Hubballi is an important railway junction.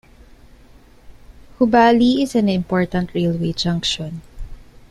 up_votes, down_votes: 2, 0